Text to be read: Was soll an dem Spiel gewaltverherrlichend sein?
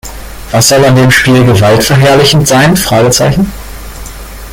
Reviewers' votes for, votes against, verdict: 0, 2, rejected